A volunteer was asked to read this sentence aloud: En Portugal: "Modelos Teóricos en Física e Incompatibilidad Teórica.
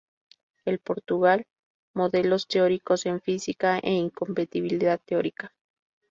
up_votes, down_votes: 0, 2